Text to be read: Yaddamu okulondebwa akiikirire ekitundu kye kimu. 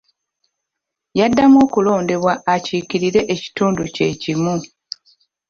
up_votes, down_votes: 1, 2